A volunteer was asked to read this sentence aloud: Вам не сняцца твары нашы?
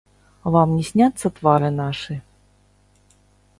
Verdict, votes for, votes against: rejected, 0, 2